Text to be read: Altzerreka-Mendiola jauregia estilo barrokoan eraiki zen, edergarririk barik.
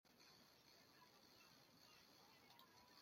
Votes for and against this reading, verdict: 0, 2, rejected